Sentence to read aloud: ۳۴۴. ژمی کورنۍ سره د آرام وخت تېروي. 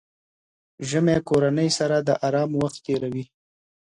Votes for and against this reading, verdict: 0, 2, rejected